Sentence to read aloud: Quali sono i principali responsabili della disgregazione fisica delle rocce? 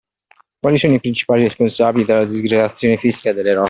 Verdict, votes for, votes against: rejected, 0, 2